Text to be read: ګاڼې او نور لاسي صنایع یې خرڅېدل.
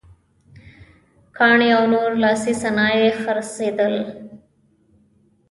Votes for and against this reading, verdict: 1, 2, rejected